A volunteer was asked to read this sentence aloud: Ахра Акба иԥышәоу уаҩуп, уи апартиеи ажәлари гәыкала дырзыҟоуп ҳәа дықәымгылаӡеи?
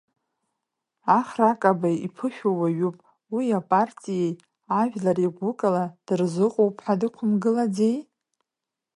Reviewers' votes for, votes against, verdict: 1, 2, rejected